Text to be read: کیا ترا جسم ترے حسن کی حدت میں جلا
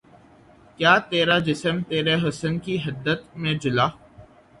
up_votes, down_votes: 3, 0